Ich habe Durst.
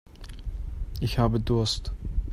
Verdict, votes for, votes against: accepted, 2, 0